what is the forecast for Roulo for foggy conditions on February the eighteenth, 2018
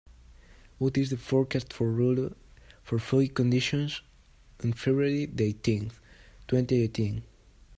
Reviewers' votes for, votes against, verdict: 0, 2, rejected